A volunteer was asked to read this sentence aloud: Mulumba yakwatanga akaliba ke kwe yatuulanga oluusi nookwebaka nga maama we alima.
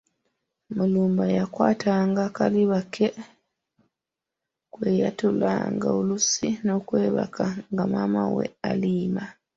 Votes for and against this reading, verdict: 2, 0, accepted